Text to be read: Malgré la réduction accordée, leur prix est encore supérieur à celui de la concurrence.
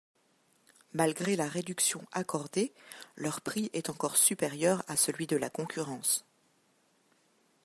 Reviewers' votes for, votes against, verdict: 2, 0, accepted